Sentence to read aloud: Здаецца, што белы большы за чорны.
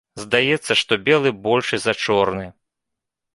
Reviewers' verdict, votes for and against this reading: accepted, 3, 0